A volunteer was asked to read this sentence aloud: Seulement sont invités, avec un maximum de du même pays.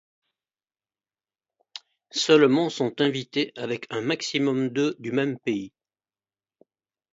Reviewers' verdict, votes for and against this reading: accepted, 2, 1